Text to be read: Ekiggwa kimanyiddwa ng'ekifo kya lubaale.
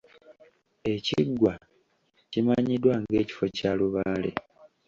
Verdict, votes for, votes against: accepted, 2, 0